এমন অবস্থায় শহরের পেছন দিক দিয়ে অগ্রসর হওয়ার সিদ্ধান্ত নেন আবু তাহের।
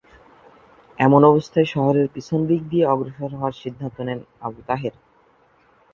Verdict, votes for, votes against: rejected, 0, 2